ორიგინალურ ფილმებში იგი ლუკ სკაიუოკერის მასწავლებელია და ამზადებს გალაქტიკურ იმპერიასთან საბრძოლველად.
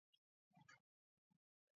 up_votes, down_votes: 0, 2